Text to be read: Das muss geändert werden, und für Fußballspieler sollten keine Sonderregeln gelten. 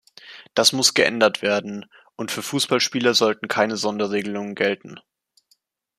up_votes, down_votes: 1, 2